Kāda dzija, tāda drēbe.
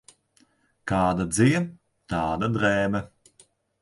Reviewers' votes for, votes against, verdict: 2, 0, accepted